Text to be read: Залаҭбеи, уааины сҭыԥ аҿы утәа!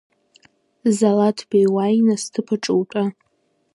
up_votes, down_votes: 0, 2